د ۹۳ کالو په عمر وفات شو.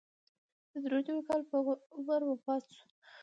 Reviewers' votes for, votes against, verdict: 0, 2, rejected